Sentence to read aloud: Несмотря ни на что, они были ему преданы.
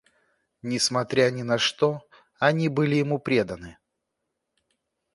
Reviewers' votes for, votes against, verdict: 2, 0, accepted